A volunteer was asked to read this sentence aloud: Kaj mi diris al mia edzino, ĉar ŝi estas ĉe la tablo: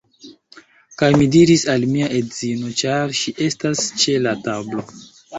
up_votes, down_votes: 2, 1